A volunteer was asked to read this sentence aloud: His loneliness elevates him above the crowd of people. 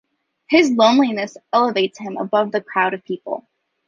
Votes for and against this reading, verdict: 2, 0, accepted